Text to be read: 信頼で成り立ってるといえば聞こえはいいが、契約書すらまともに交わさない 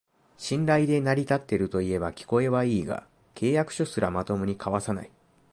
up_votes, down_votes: 2, 1